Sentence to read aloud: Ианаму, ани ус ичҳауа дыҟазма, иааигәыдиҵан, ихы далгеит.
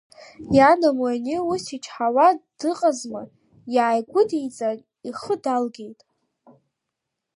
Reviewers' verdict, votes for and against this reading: accepted, 2, 0